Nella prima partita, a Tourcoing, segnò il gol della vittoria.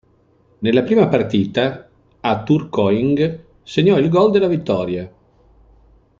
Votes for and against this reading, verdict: 2, 0, accepted